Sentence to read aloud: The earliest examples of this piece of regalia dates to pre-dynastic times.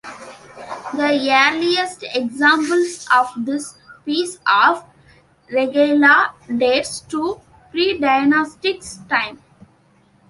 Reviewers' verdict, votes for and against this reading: rejected, 1, 2